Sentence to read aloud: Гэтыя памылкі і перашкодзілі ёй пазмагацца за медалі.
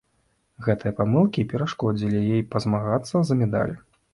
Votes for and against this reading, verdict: 0, 2, rejected